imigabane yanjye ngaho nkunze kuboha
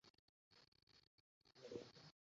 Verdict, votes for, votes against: rejected, 0, 2